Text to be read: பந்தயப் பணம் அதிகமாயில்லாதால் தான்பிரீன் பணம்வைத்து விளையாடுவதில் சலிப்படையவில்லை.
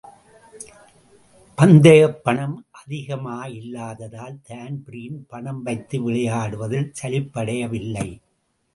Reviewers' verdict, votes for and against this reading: accepted, 2, 1